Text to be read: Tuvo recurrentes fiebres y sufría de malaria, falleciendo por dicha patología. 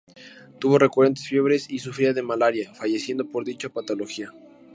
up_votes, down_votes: 2, 0